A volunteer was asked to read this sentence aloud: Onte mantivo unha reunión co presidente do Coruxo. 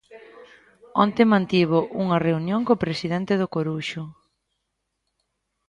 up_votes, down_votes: 2, 0